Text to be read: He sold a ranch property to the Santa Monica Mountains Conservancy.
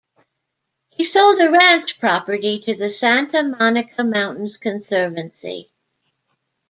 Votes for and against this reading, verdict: 2, 0, accepted